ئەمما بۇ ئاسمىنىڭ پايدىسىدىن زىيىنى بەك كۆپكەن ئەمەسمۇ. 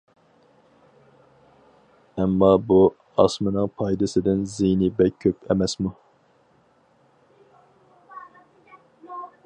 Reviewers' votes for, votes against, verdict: 0, 2, rejected